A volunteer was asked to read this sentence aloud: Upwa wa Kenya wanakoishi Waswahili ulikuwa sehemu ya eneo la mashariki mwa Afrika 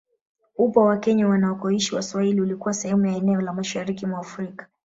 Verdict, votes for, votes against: rejected, 0, 2